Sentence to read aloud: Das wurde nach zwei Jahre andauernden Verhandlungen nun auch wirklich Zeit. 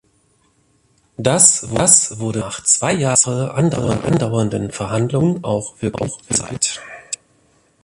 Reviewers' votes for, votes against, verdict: 0, 2, rejected